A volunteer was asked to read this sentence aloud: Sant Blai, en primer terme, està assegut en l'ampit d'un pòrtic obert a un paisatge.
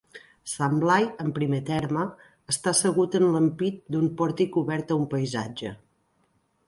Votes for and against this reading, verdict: 2, 0, accepted